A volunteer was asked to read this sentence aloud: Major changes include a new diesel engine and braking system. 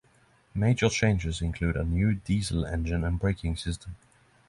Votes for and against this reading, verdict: 6, 0, accepted